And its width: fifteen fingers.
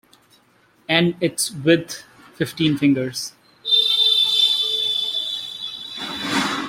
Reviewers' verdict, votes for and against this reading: accepted, 2, 0